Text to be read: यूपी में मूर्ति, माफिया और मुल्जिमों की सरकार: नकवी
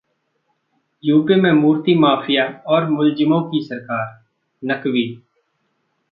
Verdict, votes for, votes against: accepted, 2, 1